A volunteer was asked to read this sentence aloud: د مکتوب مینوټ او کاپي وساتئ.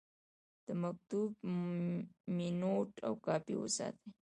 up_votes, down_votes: 2, 0